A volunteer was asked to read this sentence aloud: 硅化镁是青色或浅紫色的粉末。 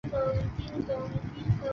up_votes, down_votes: 1, 2